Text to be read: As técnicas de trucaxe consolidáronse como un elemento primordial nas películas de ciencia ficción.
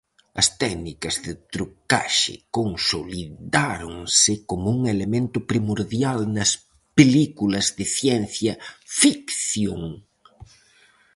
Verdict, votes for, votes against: rejected, 0, 4